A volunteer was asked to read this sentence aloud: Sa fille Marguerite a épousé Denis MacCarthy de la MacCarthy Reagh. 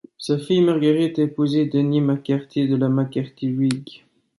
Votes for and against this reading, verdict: 2, 0, accepted